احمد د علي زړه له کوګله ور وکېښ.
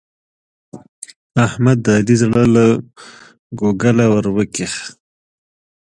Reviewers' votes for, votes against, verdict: 2, 1, accepted